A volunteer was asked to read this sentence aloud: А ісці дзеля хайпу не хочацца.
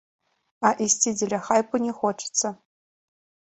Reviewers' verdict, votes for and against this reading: accepted, 2, 0